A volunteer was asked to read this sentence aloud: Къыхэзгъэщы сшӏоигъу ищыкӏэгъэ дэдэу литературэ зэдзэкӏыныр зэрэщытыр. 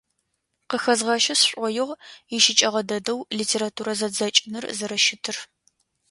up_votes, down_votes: 2, 0